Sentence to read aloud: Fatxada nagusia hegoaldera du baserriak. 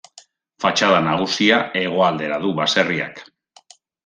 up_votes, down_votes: 2, 0